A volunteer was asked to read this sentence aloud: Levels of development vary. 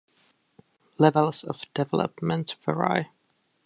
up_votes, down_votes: 2, 3